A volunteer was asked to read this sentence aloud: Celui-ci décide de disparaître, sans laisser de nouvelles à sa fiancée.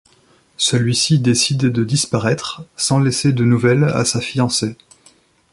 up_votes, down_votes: 2, 0